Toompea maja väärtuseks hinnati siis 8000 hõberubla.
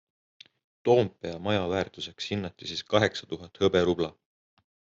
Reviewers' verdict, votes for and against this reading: rejected, 0, 2